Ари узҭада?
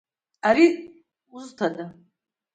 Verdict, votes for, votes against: accepted, 2, 1